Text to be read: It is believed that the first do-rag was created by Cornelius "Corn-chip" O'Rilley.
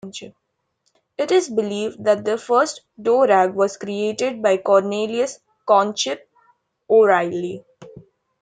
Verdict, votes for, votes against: rejected, 0, 2